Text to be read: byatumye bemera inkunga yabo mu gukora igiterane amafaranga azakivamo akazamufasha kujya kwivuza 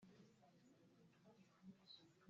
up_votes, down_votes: 0, 3